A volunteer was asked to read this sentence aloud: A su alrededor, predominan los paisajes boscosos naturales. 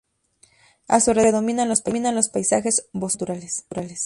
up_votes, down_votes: 0, 2